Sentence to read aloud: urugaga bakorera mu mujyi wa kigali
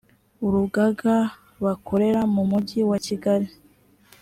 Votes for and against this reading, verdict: 3, 0, accepted